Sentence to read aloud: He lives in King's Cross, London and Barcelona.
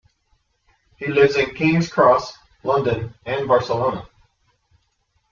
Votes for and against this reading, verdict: 3, 0, accepted